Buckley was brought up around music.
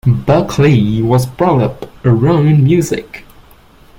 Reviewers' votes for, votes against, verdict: 1, 2, rejected